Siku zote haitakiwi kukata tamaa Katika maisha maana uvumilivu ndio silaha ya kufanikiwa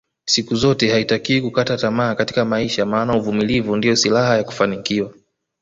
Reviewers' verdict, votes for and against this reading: rejected, 1, 2